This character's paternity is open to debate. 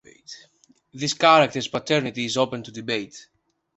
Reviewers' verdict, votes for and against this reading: rejected, 1, 2